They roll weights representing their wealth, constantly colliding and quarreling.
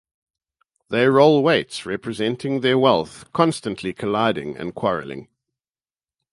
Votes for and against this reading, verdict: 4, 0, accepted